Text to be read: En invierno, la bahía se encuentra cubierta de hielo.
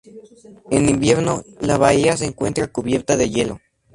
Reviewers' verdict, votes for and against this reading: accepted, 2, 0